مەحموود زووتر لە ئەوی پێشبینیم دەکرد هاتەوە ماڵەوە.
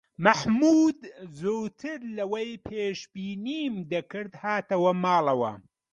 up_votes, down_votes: 2, 0